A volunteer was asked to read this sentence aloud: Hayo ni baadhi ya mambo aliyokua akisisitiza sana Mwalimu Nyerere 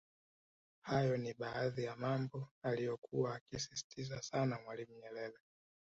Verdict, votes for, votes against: rejected, 1, 3